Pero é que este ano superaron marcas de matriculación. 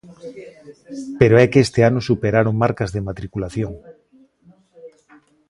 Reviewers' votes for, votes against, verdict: 2, 1, accepted